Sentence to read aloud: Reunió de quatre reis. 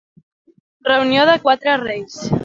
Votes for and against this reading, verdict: 2, 0, accepted